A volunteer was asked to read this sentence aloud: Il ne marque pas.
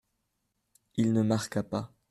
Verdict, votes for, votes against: rejected, 0, 2